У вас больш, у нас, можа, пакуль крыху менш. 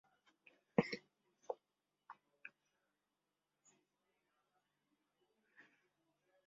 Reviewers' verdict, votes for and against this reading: rejected, 0, 2